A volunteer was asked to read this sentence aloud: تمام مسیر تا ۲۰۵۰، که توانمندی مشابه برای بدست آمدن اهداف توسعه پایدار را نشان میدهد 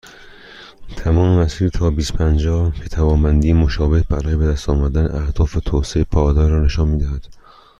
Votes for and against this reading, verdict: 0, 2, rejected